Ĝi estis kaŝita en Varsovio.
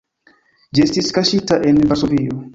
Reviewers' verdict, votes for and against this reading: rejected, 1, 2